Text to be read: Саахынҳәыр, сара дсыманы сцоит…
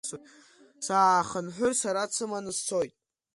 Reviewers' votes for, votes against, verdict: 2, 0, accepted